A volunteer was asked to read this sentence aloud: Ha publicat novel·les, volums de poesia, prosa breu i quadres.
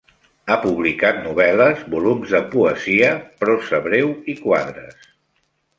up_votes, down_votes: 2, 0